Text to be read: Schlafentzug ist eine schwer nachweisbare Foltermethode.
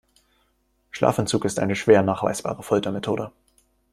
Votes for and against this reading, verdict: 2, 0, accepted